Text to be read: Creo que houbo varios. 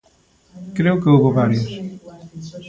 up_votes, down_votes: 2, 1